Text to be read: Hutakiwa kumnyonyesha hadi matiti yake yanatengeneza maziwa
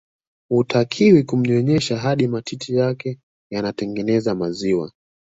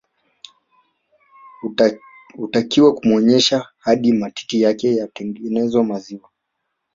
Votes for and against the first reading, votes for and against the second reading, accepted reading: 3, 0, 0, 2, first